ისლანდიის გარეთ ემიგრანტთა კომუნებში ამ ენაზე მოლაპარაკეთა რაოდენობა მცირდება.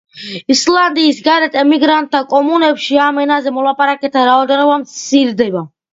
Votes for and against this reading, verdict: 2, 0, accepted